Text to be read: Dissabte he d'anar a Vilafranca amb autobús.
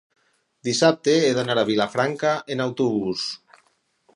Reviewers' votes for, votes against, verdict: 0, 4, rejected